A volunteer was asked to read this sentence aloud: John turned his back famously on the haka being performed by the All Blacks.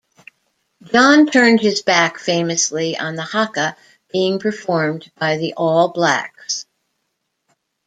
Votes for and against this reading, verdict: 2, 0, accepted